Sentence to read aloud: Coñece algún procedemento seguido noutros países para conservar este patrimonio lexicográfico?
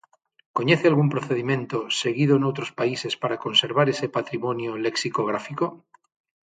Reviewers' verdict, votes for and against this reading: rejected, 0, 6